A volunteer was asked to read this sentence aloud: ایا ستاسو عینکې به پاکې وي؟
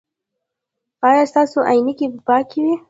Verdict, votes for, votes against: accepted, 2, 0